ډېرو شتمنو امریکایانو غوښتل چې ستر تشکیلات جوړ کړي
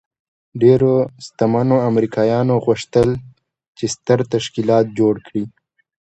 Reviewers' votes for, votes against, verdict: 2, 0, accepted